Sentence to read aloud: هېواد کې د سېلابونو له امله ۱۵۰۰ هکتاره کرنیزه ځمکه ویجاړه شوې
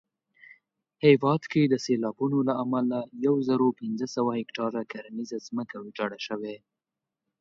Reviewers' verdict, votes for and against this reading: rejected, 0, 2